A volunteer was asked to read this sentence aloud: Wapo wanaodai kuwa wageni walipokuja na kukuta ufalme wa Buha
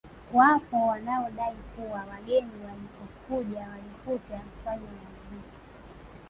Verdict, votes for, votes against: rejected, 0, 2